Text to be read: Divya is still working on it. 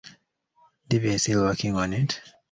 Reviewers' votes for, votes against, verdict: 2, 0, accepted